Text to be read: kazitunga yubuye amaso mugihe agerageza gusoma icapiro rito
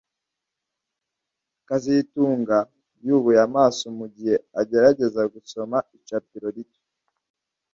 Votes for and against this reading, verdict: 2, 0, accepted